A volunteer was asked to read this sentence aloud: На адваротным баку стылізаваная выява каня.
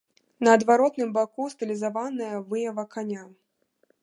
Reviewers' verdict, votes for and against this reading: rejected, 1, 2